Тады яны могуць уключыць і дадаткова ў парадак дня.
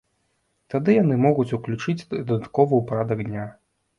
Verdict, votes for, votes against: rejected, 0, 2